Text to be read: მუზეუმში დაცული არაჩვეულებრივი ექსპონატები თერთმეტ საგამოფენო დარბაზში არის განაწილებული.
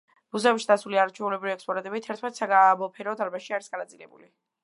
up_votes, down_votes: 0, 2